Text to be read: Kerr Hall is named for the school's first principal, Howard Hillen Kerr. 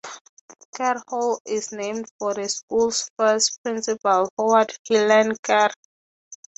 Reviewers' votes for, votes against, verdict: 3, 3, rejected